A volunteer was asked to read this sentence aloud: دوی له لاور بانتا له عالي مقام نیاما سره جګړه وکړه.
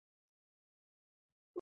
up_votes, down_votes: 0, 2